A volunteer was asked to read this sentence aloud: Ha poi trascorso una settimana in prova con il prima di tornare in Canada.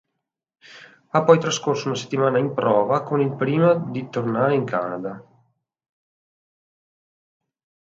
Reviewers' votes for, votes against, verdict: 2, 0, accepted